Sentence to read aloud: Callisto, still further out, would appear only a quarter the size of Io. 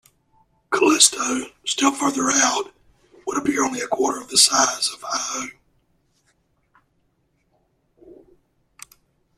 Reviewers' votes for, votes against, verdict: 1, 2, rejected